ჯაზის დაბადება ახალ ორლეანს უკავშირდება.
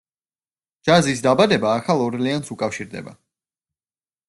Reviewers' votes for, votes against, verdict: 2, 0, accepted